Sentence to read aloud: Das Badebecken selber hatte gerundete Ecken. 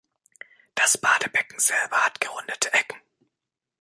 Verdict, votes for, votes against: rejected, 0, 2